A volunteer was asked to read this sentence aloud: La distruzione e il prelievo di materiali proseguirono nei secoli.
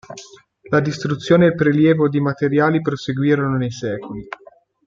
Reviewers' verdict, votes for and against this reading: accepted, 2, 0